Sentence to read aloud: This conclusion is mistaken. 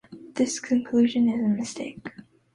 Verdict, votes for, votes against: rejected, 0, 2